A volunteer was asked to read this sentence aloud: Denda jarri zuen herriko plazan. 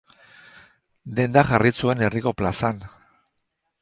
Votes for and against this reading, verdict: 6, 0, accepted